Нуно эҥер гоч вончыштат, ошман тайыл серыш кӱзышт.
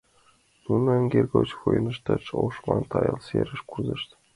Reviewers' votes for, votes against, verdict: 2, 1, accepted